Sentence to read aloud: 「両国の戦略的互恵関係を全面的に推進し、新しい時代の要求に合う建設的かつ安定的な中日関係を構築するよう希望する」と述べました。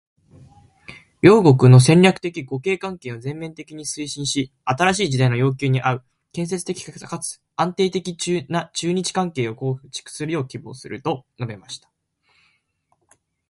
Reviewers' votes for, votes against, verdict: 2, 1, accepted